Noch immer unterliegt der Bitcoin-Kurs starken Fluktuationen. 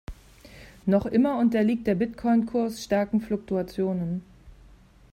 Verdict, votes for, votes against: accepted, 2, 0